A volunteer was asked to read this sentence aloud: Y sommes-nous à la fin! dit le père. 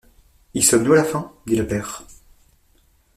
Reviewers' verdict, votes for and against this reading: accepted, 2, 0